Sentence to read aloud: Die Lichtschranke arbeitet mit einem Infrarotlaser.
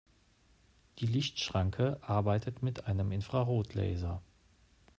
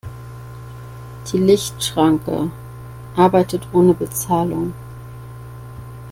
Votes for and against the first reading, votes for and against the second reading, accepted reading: 2, 0, 0, 2, first